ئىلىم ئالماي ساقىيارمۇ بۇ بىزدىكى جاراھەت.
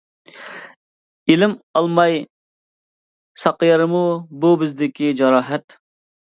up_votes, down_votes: 2, 0